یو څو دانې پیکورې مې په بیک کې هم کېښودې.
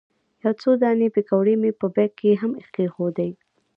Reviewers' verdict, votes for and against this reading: rejected, 0, 2